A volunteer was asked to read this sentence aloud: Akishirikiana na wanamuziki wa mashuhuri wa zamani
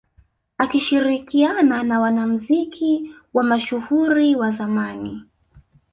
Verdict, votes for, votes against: accepted, 2, 0